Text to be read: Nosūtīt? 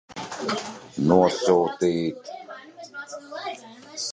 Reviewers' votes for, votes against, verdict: 0, 2, rejected